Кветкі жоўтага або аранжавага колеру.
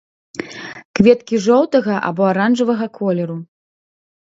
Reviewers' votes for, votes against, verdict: 2, 0, accepted